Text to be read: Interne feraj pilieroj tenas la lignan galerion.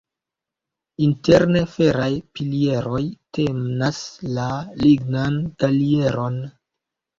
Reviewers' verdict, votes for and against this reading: rejected, 1, 2